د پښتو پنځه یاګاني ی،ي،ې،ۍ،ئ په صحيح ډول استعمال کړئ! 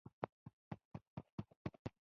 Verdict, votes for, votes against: rejected, 1, 2